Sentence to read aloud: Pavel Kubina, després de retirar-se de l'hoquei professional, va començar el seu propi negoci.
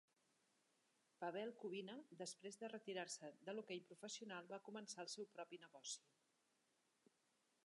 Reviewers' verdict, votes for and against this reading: accepted, 4, 1